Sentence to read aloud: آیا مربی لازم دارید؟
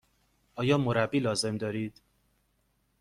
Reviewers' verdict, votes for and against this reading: accepted, 2, 0